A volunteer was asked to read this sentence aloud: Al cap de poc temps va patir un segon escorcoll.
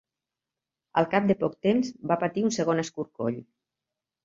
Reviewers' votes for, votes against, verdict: 2, 0, accepted